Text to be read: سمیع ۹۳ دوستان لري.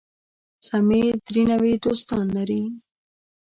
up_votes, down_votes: 0, 2